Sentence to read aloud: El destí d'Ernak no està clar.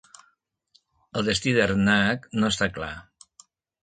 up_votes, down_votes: 2, 0